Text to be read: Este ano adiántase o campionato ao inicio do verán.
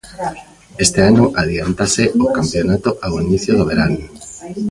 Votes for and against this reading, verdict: 1, 2, rejected